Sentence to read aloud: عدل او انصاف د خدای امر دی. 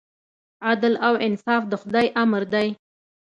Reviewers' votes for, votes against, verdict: 2, 0, accepted